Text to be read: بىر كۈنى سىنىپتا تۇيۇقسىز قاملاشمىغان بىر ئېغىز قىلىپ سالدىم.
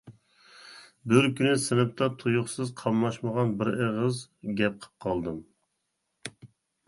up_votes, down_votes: 0, 2